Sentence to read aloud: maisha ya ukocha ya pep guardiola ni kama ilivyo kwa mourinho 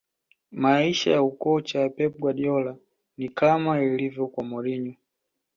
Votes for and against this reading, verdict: 2, 0, accepted